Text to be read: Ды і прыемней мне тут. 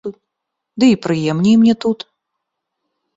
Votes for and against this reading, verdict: 2, 1, accepted